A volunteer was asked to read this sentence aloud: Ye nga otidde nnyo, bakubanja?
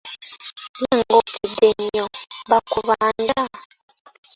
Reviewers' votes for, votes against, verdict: 1, 2, rejected